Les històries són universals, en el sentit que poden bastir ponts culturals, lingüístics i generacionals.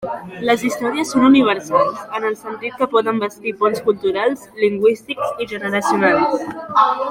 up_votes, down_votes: 2, 1